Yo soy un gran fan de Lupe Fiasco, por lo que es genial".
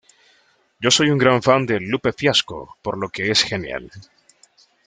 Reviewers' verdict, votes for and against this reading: rejected, 1, 2